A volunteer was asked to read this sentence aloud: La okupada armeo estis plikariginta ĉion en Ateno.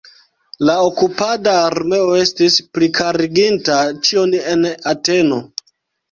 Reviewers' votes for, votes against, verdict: 0, 2, rejected